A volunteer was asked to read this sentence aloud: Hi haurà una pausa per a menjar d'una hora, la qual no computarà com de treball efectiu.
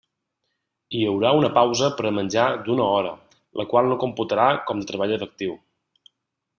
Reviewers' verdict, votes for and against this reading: rejected, 1, 2